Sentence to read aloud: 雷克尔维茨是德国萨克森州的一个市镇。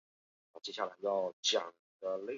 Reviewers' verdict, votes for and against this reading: rejected, 0, 2